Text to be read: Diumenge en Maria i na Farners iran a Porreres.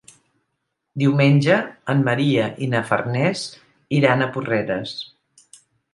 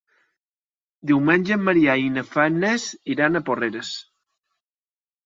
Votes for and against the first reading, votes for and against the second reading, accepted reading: 3, 0, 1, 2, first